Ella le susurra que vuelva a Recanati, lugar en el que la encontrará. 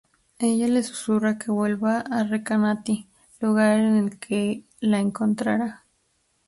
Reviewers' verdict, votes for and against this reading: accepted, 4, 0